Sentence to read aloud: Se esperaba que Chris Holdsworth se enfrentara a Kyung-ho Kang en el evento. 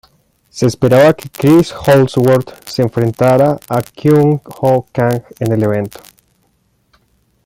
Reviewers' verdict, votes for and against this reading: accepted, 2, 0